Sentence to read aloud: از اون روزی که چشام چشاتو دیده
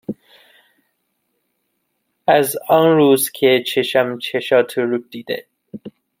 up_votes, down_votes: 1, 2